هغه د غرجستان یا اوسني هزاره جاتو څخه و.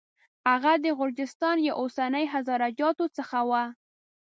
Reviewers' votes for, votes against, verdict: 5, 0, accepted